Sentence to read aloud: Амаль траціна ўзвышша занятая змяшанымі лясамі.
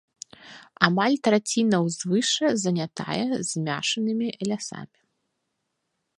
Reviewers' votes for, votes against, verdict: 0, 2, rejected